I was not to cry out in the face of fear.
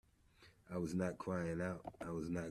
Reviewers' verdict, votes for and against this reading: rejected, 0, 2